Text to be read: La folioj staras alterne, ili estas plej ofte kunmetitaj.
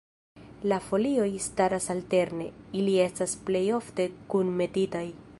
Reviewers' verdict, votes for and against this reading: accepted, 2, 0